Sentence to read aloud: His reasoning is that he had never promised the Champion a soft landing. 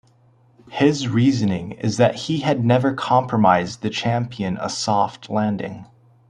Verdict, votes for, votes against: rejected, 0, 2